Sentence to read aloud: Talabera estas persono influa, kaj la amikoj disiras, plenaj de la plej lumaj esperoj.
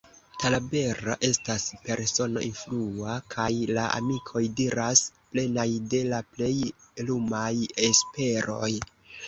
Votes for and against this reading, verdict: 1, 2, rejected